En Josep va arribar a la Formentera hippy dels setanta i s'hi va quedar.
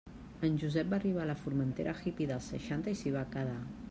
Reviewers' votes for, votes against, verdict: 1, 2, rejected